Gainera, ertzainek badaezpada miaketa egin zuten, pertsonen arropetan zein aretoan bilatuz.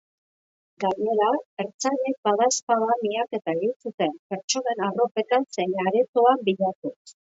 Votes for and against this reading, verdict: 3, 1, accepted